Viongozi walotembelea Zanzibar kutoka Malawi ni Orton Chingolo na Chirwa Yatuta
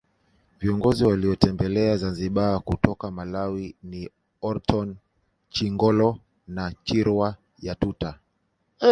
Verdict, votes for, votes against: rejected, 1, 2